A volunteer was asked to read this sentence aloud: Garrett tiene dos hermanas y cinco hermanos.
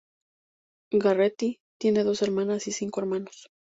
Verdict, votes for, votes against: rejected, 2, 4